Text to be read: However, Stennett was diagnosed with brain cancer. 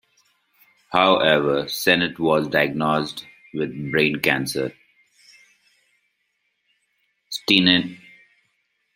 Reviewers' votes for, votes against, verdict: 0, 2, rejected